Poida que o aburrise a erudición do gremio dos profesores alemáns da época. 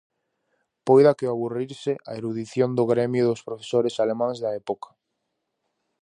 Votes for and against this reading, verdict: 2, 2, rejected